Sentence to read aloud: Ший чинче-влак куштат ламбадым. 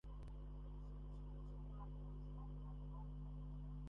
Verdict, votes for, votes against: rejected, 0, 2